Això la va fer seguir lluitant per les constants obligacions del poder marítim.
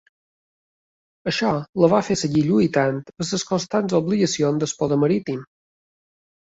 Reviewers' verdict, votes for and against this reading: rejected, 1, 2